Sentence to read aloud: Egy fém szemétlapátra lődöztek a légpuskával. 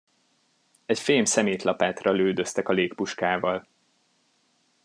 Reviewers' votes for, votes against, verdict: 2, 0, accepted